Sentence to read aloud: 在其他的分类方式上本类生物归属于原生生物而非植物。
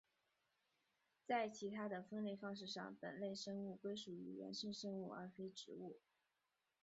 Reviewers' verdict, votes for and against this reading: rejected, 2, 2